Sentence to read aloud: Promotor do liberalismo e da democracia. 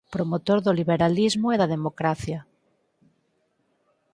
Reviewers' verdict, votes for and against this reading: accepted, 4, 0